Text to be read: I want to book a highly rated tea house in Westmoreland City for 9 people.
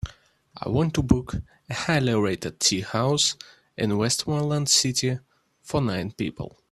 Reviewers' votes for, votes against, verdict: 0, 2, rejected